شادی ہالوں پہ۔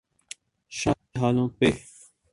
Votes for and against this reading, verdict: 4, 8, rejected